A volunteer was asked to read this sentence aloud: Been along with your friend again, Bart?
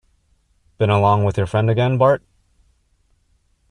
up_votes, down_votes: 2, 0